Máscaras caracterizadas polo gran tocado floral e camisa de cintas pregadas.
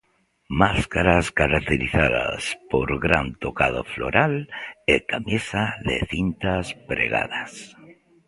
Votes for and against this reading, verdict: 2, 0, accepted